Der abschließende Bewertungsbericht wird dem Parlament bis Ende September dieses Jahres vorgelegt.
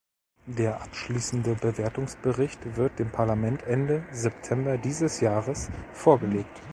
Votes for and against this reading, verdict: 0, 2, rejected